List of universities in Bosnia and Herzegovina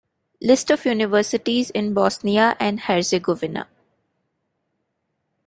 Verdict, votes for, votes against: accepted, 2, 1